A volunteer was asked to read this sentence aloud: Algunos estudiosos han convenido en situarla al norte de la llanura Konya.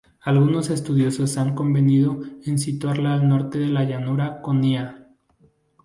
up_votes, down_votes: 0, 2